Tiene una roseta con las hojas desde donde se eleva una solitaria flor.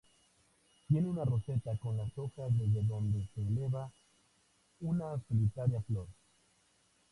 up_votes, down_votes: 2, 0